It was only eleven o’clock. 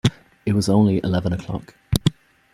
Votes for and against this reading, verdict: 2, 0, accepted